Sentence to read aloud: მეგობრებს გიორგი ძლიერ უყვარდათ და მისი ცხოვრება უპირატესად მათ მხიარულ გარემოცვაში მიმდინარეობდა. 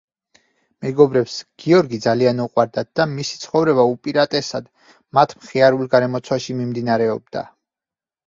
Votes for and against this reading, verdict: 0, 4, rejected